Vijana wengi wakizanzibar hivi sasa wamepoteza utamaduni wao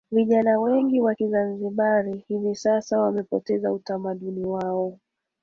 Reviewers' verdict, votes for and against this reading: rejected, 2, 3